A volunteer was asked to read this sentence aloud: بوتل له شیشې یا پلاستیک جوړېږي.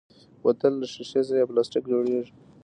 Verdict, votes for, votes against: rejected, 1, 2